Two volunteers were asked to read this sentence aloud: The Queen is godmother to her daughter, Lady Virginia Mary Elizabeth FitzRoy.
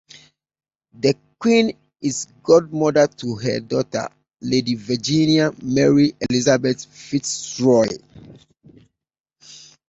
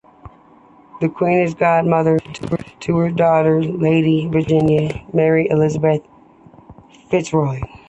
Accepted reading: first